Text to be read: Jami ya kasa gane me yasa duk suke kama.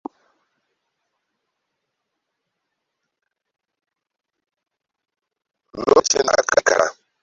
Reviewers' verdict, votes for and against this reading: rejected, 0, 2